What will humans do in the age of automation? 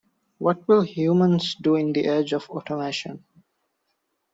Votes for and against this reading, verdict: 2, 0, accepted